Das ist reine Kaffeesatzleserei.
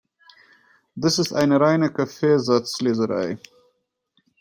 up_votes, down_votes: 0, 3